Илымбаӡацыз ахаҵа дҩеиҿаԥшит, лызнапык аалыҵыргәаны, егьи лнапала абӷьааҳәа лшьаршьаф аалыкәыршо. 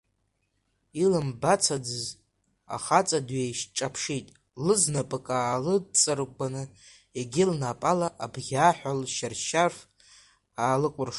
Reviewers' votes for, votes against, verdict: 0, 2, rejected